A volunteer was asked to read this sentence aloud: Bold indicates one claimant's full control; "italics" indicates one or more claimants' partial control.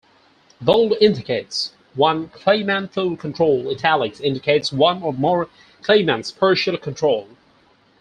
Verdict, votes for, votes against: rejected, 2, 4